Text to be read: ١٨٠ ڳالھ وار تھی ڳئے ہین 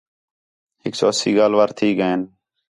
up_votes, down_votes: 0, 2